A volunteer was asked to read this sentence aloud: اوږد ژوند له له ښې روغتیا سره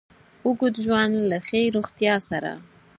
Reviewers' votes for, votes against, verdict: 4, 0, accepted